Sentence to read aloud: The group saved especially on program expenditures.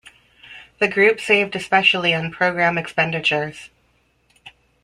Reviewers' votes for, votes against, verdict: 2, 0, accepted